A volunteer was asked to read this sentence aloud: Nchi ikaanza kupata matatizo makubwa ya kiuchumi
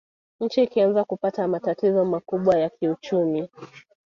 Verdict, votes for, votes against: accepted, 3, 0